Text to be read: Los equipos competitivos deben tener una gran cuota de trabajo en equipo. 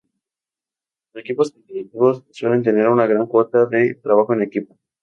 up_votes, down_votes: 2, 2